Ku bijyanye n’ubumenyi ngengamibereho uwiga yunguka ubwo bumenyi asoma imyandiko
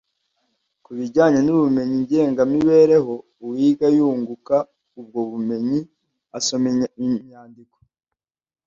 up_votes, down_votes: 0, 2